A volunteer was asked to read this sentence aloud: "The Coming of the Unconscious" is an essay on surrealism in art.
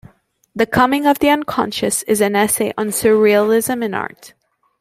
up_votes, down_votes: 2, 1